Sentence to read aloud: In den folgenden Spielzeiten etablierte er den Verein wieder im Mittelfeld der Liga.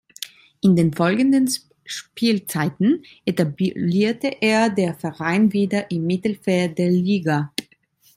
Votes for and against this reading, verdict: 1, 2, rejected